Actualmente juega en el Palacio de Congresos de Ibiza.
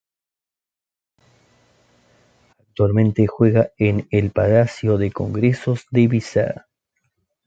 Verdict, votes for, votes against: rejected, 1, 2